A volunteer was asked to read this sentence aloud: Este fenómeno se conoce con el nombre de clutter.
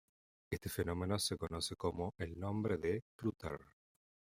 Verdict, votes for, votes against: rejected, 1, 2